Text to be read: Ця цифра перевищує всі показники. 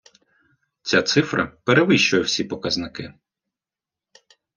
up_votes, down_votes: 2, 0